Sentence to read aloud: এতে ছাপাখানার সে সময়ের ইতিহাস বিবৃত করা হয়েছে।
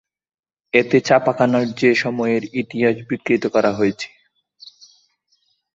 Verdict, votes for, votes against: rejected, 0, 2